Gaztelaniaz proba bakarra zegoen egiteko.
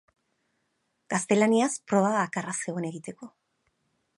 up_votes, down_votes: 2, 0